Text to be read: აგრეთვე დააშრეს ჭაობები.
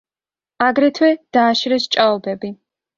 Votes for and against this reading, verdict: 2, 0, accepted